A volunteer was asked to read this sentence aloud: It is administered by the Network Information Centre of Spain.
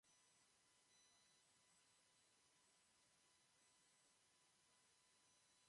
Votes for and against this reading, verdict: 0, 2, rejected